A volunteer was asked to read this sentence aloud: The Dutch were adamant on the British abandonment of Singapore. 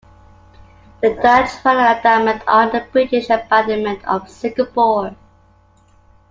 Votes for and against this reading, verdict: 0, 2, rejected